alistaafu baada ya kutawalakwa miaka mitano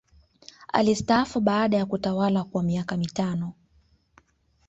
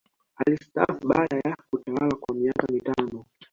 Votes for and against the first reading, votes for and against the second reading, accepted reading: 2, 0, 1, 2, first